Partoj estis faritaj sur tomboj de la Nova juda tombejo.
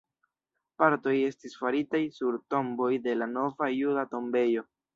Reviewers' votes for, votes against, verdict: 0, 2, rejected